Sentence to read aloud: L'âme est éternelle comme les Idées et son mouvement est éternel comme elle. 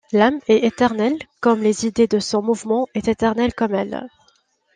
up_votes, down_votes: 1, 2